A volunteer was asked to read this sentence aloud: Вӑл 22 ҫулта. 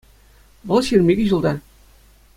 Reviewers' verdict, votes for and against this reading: rejected, 0, 2